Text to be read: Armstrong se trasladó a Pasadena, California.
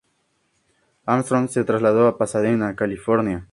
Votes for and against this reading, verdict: 2, 0, accepted